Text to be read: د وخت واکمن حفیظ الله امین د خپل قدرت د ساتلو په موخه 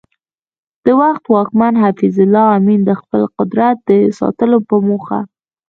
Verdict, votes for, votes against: rejected, 1, 2